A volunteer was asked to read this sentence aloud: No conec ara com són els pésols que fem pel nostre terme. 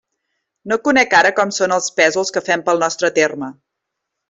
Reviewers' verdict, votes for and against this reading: accepted, 3, 0